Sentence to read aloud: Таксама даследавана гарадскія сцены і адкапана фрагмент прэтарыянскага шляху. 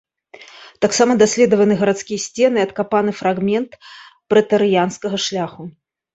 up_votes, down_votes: 0, 2